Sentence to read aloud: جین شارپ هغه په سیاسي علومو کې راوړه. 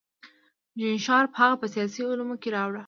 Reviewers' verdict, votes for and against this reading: accepted, 2, 0